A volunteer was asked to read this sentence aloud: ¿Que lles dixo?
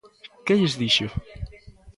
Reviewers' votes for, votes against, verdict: 0, 2, rejected